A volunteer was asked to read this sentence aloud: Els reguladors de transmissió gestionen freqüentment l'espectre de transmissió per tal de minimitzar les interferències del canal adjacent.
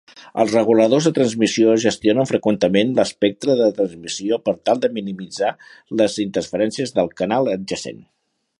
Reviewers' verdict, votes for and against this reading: rejected, 0, 2